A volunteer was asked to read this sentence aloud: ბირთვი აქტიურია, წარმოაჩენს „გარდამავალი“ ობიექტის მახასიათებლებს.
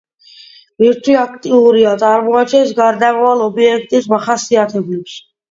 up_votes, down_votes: 2, 0